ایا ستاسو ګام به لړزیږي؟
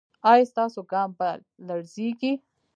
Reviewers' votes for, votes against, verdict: 1, 2, rejected